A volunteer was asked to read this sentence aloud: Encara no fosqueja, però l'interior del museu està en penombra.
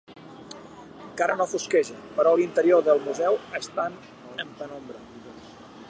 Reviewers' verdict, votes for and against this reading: rejected, 0, 2